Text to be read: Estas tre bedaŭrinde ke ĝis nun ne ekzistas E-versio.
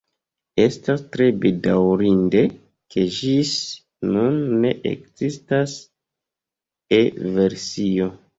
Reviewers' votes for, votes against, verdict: 3, 0, accepted